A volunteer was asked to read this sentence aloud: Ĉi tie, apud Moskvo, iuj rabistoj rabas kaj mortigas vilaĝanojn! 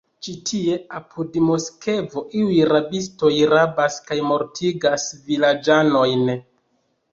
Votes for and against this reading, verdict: 1, 2, rejected